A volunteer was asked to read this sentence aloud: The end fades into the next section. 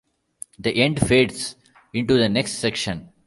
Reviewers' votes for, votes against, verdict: 2, 0, accepted